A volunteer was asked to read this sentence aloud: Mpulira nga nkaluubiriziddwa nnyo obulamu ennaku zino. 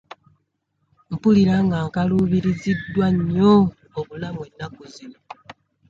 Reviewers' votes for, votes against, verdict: 2, 0, accepted